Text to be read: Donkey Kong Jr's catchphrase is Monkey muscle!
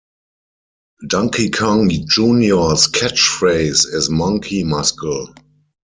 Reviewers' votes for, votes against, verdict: 0, 4, rejected